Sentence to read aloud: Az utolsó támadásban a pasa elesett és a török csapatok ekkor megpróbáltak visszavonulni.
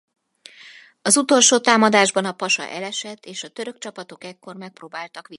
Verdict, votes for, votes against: rejected, 0, 4